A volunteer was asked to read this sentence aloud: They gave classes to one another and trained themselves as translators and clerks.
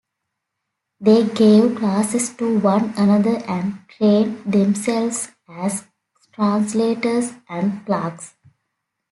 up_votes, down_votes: 2, 3